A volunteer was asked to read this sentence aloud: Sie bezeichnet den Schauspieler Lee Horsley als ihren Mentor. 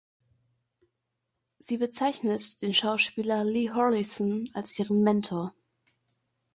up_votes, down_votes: 1, 2